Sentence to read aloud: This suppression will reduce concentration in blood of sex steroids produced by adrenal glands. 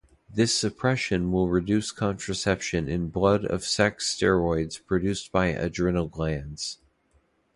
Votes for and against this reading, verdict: 0, 2, rejected